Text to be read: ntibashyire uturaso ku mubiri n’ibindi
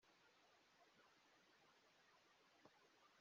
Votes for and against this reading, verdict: 0, 2, rejected